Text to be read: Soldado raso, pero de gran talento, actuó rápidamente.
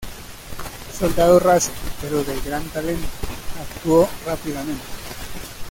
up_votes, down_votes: 2, 0